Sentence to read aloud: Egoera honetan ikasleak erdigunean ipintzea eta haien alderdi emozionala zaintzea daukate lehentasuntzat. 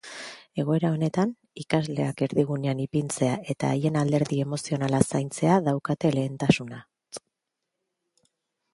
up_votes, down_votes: 0, 2